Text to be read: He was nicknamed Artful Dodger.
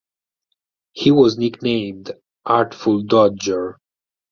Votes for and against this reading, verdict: 4, 0, accepted